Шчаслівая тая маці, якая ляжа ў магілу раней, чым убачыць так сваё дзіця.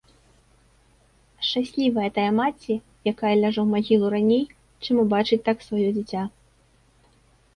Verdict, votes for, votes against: accepted, 2, 0